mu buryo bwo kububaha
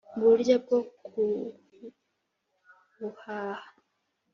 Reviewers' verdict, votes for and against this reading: rejected, 0, 2